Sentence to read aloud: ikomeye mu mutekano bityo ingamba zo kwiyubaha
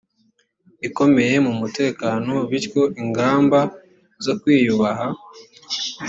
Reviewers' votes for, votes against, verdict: 2, 0, accepted